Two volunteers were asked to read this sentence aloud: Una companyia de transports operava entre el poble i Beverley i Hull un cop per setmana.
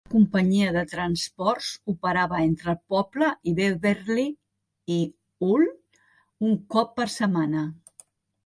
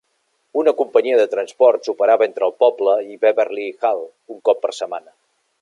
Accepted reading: second